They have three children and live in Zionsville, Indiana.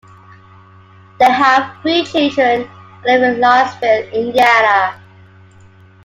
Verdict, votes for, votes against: accepted, 2, 1